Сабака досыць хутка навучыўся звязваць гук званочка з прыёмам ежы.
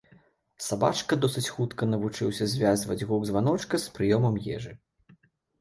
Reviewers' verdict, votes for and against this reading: rejected, 0, 2